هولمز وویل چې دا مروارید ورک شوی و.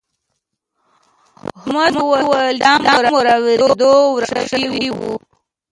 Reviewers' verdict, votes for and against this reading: rejected, 0, 2